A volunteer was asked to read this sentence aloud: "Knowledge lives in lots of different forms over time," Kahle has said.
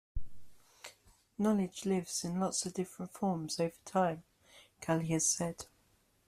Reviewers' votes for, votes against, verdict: 2, 0, accepted